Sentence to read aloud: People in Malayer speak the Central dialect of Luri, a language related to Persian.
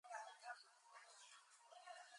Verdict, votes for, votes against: rejected, 0, 2